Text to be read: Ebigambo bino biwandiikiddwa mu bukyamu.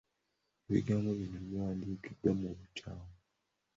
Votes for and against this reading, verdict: 2, 0, accepted